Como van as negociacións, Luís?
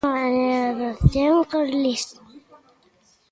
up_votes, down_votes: 0, 2